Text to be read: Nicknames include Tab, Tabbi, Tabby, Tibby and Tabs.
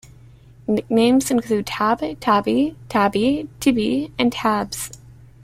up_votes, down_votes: 0, 2